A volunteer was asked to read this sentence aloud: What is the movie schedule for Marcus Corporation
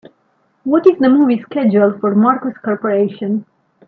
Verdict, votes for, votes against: rejected, 1, 2